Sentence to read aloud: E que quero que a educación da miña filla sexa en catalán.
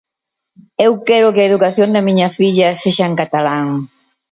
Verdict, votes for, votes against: rejected, 0, 2